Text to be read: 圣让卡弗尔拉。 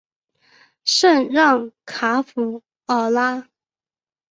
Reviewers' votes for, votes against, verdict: 3, 1, accepted